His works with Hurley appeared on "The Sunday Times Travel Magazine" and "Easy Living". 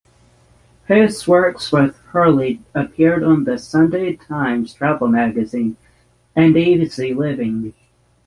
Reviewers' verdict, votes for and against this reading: rejected, 3, 3